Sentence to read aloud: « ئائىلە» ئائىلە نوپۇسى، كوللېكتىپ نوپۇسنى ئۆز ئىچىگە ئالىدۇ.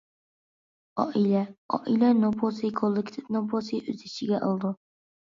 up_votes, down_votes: 0, 2